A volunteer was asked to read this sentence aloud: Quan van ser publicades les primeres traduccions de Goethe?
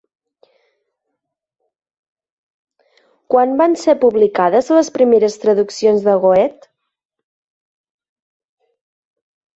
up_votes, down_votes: 4, 1